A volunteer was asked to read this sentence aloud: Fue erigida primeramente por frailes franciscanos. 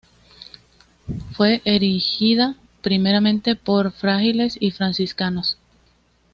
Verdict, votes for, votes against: rejected, 1, 2